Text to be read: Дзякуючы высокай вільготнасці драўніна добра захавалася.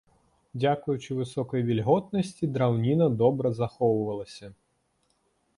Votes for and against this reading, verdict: 0, 2, rejected